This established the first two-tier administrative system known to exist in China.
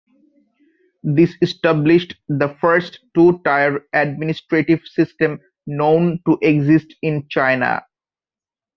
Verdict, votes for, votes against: rejected, 0, 2